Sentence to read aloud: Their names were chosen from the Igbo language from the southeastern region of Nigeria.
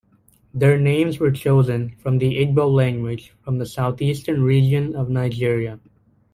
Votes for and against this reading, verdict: 2, 0, accepted